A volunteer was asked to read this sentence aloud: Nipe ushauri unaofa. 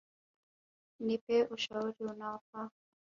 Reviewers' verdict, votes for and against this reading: rejected, 1, 2